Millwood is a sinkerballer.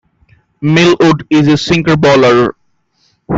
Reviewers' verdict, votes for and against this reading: rejected, 1, 2